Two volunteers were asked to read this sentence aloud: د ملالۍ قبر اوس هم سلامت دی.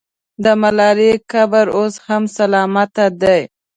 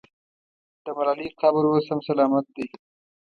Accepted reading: second